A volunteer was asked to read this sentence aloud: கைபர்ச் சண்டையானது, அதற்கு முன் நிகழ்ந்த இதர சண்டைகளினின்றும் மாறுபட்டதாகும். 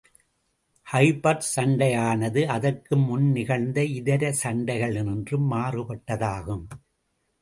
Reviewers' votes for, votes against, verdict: 2, 0, accepted